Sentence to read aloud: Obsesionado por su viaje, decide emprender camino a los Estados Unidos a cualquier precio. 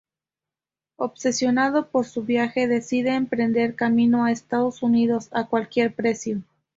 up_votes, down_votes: 2, 0